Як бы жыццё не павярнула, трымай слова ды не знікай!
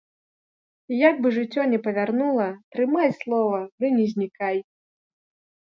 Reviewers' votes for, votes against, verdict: 2, 0, accepted